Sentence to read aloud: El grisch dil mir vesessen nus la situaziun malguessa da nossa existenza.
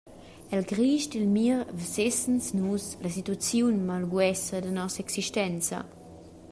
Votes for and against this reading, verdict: 1, 2, rejected